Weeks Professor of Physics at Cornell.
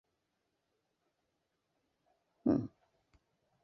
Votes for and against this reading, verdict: 0, 2, rejected